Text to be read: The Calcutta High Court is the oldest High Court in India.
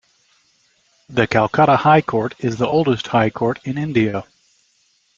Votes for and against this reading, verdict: 2, 0, accepted